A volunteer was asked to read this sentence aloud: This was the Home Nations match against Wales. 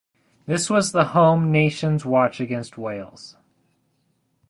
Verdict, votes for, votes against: rejected, 0, 2